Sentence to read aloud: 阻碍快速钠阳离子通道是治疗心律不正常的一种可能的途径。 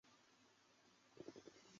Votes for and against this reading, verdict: 0, 3, rejected